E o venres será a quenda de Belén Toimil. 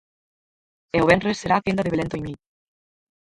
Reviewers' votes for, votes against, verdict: 0, 4, rejected